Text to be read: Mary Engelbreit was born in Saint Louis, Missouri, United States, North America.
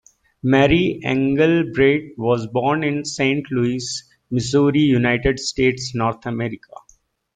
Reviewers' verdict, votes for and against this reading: accepted, 2, 0